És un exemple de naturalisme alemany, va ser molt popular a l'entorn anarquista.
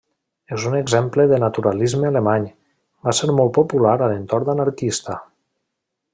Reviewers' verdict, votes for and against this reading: accepted, 2, 0